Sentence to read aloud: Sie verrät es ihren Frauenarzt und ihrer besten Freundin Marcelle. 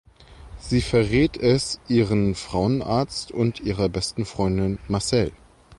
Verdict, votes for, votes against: accepted, 2, 1